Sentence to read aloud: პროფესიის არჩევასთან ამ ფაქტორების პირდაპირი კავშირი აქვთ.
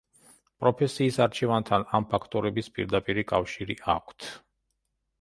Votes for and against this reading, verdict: 0, 2, rejected